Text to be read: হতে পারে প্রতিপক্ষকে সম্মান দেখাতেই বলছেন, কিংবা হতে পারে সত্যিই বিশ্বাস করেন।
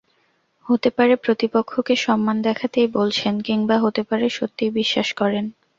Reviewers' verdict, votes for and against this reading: accepted, 2, 0